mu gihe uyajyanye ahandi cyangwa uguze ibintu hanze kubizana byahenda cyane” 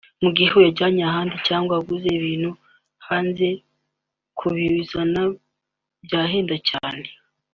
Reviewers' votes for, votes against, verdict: 1, 2, rejected